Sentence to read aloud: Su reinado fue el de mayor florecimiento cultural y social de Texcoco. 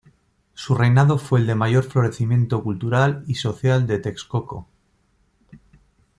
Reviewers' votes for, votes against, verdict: 2, 0, accepted